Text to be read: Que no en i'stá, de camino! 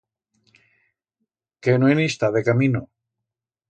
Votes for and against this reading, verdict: 2, 0, accepted